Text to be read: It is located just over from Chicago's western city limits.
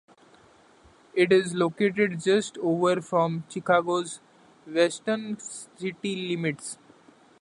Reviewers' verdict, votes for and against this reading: accepted, 2, 0